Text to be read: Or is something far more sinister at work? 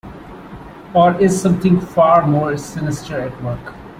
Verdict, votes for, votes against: accepted, 2, 0